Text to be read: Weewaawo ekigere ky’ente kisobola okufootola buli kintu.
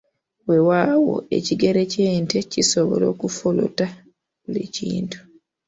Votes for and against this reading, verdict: 0, 2, rejected